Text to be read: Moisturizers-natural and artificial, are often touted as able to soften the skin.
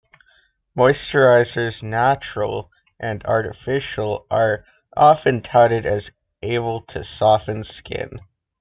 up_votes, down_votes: 0, 2